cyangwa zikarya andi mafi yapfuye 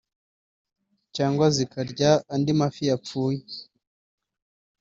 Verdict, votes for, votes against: accepted, 2, 1